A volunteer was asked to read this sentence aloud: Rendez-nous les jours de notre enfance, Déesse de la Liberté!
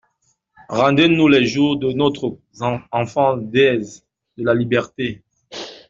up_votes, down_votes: 1, 2